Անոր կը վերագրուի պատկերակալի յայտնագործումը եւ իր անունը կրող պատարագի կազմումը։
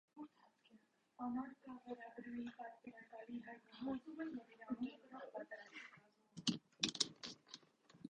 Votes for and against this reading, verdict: 0, 2, rejected